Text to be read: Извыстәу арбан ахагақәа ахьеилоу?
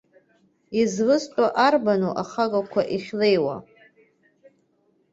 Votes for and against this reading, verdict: 1, 2, rejected